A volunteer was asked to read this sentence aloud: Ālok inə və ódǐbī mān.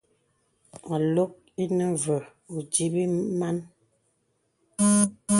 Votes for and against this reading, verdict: 2, 0, accepted